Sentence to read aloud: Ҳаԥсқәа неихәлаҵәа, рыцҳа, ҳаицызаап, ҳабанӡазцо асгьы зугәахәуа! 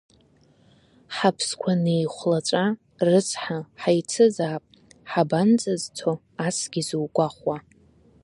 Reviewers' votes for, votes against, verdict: 1, 2, rejected